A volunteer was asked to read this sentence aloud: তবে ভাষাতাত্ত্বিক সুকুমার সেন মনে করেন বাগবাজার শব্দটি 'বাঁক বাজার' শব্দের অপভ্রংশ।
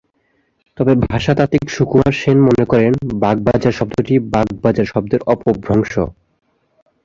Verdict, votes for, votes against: accepted, 2, 0